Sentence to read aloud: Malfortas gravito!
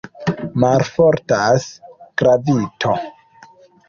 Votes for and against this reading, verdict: 3, 0, accepted